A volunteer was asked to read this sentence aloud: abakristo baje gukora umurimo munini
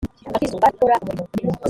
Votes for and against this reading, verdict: 0, 2, rejected